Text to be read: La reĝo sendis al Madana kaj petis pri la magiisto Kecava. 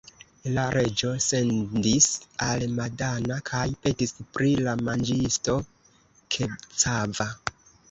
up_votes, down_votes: 1, 2